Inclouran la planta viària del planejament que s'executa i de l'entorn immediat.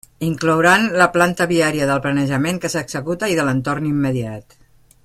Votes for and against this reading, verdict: 2, 0, accepted